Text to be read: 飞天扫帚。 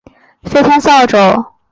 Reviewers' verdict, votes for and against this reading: accepted, 4, 0